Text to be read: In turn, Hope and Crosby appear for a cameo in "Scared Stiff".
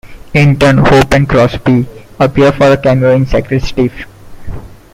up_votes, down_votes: 1, 2